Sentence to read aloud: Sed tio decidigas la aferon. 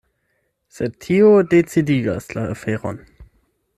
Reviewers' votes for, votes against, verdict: 8, 4, accepted